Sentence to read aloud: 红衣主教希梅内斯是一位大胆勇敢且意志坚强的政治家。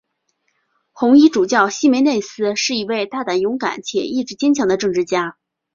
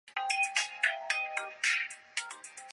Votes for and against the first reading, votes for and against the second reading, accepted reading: 2, 0, 0, 2, first